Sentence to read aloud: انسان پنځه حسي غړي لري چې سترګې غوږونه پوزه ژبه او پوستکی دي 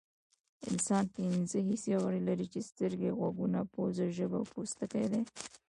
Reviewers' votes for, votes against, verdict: 1, 2, rejected